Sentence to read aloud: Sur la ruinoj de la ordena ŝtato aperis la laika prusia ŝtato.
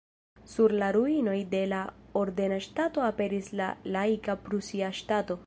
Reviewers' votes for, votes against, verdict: 2, 1, accepted